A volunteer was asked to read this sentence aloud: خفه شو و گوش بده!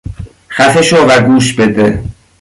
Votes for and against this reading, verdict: 2, 0, accepted